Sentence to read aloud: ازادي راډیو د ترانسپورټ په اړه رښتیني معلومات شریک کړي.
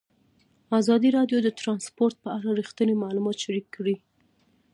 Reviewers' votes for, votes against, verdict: 2, 0, accepted